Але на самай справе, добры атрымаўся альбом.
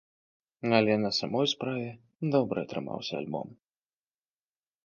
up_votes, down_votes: 0, 2